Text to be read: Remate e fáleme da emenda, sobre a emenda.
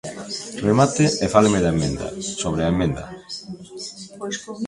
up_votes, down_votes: 1, 2